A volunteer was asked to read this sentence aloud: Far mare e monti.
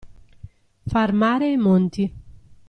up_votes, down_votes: 2, 0